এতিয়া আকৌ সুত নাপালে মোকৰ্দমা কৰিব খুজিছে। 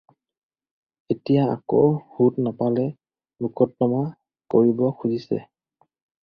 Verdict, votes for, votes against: accepted, 4, 0